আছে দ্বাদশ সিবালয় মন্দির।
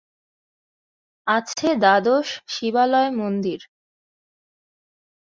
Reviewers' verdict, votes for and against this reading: accepted, 2, 0